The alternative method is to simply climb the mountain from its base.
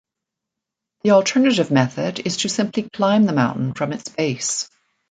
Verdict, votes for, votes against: accepted, 2, 1